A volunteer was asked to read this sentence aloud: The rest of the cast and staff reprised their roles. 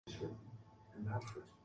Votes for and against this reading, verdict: 0, 2, rejected